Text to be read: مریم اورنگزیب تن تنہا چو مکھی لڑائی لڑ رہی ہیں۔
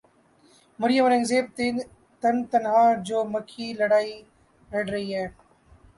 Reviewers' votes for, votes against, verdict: 0, 2, rejected